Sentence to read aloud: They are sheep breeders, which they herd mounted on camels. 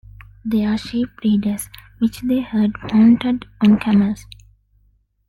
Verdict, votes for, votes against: accepted, 2, 0